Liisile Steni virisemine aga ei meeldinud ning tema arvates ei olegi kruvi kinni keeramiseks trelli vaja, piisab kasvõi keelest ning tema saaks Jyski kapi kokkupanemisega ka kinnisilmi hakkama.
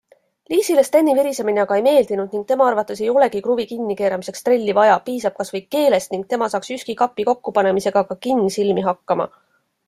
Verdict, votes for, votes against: accepted, 2, 0